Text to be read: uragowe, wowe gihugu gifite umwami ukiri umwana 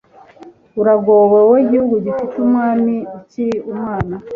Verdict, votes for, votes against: accepted, 2, 0